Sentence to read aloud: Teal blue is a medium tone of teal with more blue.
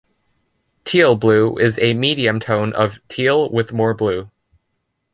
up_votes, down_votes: 2, 0